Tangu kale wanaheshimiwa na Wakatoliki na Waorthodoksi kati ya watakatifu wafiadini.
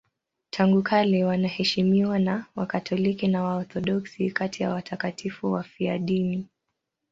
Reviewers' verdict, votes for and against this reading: accepted, 2, 0